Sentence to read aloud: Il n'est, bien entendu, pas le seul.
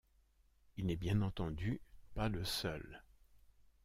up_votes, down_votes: 2, 0